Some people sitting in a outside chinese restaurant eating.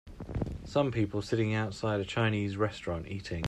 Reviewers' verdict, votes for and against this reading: rejected, 0, 2